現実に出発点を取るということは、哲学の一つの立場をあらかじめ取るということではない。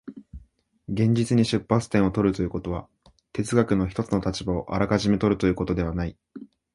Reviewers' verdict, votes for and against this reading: accepted, 2, 0